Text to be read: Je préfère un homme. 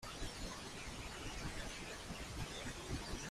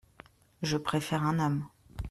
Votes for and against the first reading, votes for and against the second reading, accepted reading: 0, 2, 2, 0, second